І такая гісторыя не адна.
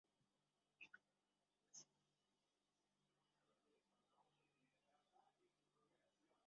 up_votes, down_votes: 0, 2